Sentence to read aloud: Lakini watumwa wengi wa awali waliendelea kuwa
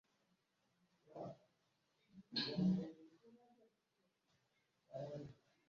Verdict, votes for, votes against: rejected, 0, 2